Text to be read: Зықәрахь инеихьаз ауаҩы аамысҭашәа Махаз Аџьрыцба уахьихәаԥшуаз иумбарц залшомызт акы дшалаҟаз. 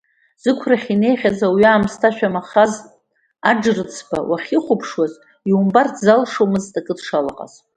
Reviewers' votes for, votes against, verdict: 2, 0, accepted